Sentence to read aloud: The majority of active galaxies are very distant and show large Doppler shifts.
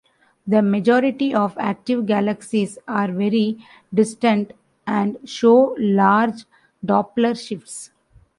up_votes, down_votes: 2, 0